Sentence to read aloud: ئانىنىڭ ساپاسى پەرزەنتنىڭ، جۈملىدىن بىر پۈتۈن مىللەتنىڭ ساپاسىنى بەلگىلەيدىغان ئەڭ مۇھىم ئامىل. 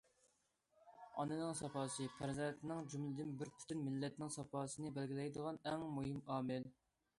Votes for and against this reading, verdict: 2, 0, accepted